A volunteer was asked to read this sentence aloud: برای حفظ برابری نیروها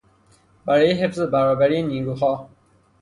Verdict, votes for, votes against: rejected, 0, 3